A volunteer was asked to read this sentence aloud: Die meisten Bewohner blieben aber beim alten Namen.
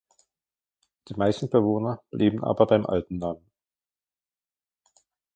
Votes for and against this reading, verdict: 0, 2, rejected